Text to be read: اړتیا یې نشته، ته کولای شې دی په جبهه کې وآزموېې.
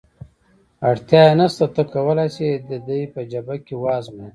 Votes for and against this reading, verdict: 2, 0, accepted